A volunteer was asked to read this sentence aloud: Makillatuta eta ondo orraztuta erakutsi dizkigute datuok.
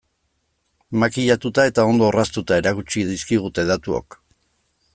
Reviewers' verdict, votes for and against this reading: accepted, 2, 0